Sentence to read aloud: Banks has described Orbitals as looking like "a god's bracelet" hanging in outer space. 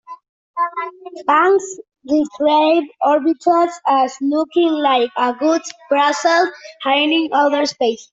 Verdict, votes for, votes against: rejected, 0, 2